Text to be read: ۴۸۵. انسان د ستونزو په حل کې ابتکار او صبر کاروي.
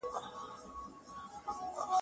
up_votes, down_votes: 0, 2